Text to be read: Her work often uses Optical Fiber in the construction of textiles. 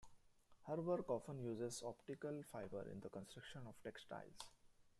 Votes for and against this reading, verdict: 2, 0, accepted